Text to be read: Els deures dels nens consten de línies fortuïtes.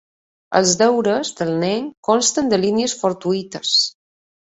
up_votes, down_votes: 1, 2